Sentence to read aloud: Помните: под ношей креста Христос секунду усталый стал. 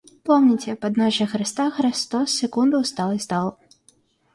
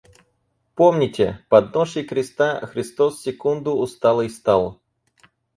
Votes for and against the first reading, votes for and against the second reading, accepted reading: 0, 2, 4, 0, second